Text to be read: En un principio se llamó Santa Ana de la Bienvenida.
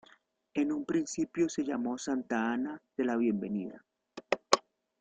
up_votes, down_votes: 2, 1